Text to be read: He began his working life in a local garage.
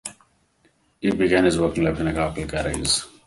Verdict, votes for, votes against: rejected, 0, 2